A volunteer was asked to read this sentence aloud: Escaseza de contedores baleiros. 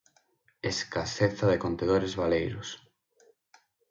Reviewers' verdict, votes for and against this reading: accepted, 6, 0